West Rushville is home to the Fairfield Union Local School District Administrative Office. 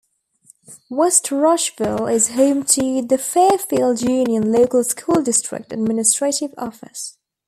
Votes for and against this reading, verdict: 4, 0, accepted